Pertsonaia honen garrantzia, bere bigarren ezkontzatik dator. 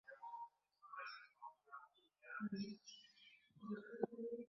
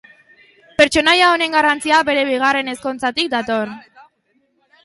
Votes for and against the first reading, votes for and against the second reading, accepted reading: 0, 4, 2, 0, second